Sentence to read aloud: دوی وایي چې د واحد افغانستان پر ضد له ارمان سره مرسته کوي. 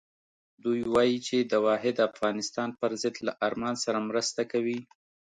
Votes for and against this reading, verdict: 2, 0, accepted